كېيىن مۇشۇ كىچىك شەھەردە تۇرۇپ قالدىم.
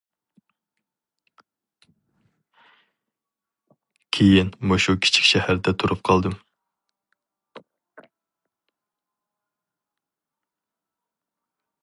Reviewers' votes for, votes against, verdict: 4, 0, accepted